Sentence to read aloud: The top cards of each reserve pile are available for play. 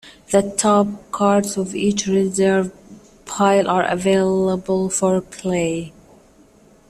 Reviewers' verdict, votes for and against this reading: accepted, 2, 1